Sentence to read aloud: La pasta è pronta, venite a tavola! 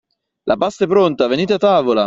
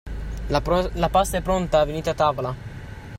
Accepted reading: first